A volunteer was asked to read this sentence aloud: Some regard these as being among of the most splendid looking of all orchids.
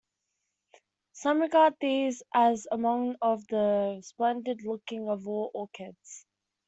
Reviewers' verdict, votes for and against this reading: rejected, 0, 2